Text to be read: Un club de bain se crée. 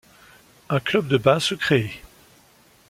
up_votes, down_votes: 2, 0